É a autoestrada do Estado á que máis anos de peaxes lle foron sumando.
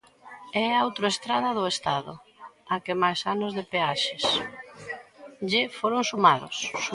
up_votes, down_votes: 0, 2